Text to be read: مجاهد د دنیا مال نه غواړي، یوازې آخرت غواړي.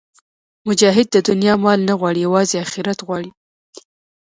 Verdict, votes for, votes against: rejected, 0, 2